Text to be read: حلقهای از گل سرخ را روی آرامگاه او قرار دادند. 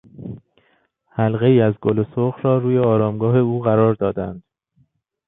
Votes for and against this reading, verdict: 2, 0, accepted